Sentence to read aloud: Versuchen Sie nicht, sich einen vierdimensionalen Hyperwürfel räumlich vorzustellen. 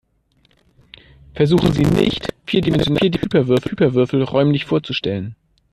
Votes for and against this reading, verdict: 0, 2, rejected